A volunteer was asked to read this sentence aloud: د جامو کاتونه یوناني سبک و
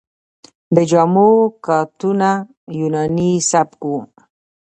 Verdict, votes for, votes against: accepted, 2, 0